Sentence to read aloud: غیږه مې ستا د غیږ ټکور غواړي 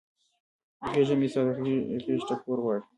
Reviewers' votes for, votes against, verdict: 2, 1, accepted